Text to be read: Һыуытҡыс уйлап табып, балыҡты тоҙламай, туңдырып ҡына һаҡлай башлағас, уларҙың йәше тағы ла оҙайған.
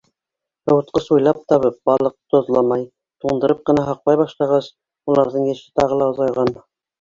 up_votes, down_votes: 0, 2